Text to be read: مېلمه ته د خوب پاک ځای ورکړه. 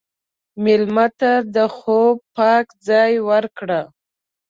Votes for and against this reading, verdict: 2, 0, accepted